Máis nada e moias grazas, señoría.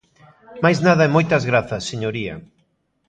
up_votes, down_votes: 2, 0